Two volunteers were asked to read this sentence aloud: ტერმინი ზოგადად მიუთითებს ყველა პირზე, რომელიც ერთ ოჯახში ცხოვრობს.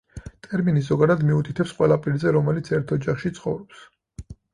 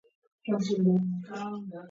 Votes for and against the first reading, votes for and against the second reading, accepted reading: 4, 0, 1, 2, first